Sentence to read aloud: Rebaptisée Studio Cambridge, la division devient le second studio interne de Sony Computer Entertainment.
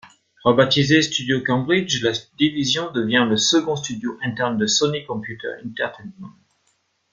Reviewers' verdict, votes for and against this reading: rejected, 0, 2